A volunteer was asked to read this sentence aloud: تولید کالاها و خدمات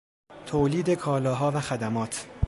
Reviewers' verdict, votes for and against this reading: accepted, 2, 0